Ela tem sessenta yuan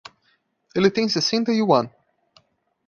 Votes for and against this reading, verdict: 1, 2, rejected